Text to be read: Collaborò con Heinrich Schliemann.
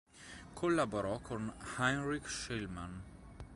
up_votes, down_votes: 2, 0